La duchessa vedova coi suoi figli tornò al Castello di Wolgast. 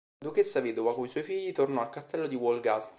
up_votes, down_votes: 1, 2